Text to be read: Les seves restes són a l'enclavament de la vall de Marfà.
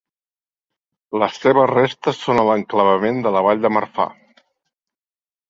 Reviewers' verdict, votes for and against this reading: accepted, 3, 0